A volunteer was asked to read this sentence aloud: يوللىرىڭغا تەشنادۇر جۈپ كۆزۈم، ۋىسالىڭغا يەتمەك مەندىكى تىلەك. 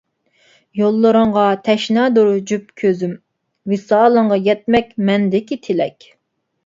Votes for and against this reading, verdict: 3, 0, accepted